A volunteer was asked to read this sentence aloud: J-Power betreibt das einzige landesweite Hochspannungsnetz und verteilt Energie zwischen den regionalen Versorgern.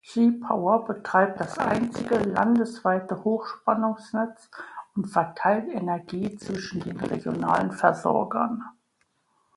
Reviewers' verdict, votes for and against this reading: accepted, 2, 1